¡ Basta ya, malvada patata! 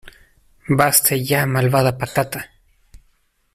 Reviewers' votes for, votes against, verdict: 2, 0, accepted